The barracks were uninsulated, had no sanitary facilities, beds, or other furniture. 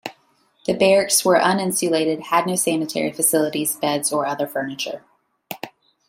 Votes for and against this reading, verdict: 2, 0, accepted